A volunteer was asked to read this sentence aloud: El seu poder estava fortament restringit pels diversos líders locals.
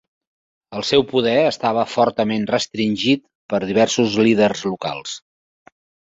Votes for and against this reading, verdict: 0, 2, rejected